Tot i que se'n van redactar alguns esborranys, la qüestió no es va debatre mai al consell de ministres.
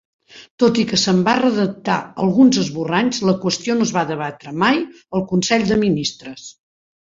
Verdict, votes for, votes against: rejected, 2, 3